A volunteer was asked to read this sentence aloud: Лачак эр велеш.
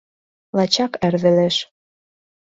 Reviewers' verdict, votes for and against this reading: accepted, 2, 0